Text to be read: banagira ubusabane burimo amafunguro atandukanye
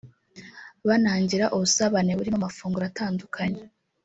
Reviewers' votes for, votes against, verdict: 1, 2, rejected